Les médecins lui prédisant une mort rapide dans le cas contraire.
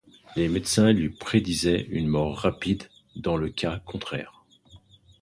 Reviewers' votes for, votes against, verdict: 1, 2, rejected